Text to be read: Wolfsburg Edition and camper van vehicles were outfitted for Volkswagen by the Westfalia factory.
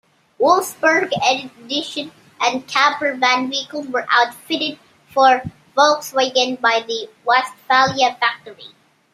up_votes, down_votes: 2, 0